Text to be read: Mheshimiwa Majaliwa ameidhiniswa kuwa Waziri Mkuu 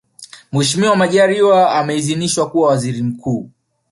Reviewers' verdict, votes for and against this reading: rejected, 1, 2